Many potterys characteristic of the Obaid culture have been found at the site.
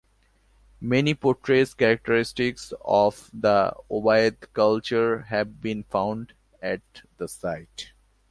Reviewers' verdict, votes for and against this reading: rejected, 0, 2